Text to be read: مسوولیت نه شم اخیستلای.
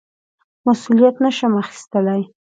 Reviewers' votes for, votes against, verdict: 2, 0, accepted